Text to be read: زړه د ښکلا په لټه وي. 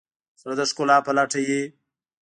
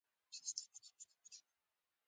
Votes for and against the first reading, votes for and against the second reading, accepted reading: 2, 1, 1, 2, first